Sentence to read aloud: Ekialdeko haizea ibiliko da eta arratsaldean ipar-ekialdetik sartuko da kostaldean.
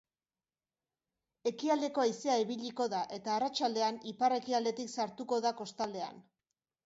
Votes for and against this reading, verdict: 2, 0, accepted